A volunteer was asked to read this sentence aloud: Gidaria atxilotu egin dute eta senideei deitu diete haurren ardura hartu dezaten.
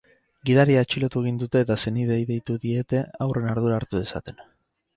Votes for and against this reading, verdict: 6, 0, accepted